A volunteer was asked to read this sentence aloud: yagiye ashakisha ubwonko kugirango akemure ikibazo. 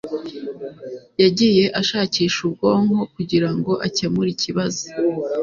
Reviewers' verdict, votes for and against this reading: accepted, 2, 0